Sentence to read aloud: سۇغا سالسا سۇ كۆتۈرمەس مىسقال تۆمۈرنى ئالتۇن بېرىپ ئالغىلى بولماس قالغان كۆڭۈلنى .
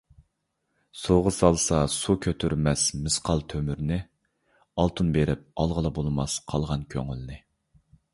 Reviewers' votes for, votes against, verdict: 2, 0, accepted